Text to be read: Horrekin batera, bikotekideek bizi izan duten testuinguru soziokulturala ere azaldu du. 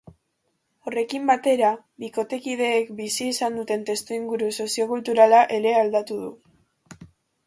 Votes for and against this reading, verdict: 1, 4, rejected